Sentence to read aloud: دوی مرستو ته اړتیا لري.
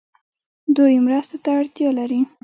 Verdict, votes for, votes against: accepted, 2, 0